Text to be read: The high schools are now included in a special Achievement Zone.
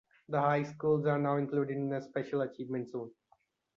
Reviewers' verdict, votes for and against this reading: accepted, 2, 0